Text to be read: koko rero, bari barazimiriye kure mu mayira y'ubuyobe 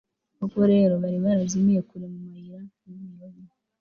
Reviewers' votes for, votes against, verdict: 2, 3, rejected